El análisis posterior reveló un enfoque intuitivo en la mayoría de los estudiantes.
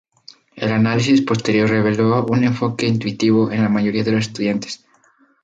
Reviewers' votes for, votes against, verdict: 0, 2, rejected